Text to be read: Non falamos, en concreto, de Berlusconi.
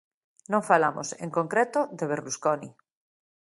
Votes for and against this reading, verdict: 2, 0, accepted